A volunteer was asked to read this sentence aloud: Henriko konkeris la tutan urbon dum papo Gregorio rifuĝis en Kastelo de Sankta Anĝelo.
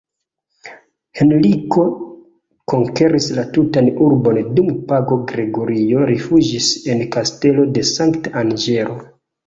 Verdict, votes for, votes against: rejected, 1, 2